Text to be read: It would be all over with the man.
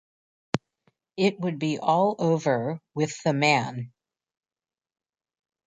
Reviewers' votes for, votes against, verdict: 2, 0, accepted